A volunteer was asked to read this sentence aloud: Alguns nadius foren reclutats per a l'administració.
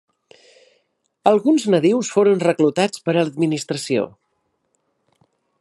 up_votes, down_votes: 1, 2